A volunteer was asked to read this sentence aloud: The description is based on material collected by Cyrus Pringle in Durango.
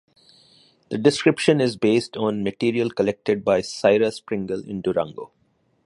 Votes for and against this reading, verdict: 3, 0, accepted